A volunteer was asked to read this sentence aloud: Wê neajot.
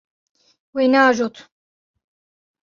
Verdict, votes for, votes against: accepted, 2, 0